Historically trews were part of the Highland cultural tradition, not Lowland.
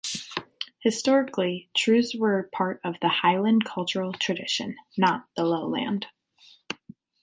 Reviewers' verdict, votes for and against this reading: rejected, 0, 2